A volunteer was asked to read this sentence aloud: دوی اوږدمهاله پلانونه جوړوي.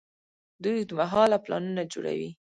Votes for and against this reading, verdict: 1, 2, rejected